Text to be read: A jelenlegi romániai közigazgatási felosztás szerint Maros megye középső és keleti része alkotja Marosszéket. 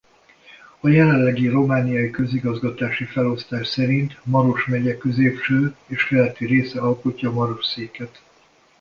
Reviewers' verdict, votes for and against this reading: accepted, 2, 0